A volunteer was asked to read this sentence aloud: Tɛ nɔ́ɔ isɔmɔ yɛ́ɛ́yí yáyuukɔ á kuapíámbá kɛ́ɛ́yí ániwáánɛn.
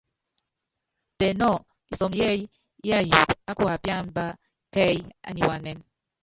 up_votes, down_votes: 1, 2